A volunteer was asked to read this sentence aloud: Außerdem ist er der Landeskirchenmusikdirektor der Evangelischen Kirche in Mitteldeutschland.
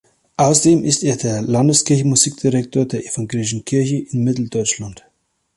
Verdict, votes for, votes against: accepted, 2, 0